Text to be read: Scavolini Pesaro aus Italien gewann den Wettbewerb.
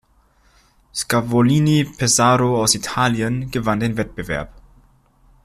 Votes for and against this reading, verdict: 2, 0, accepted